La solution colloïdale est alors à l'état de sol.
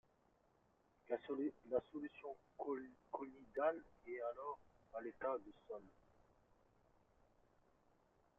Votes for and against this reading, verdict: 0, 2, rejected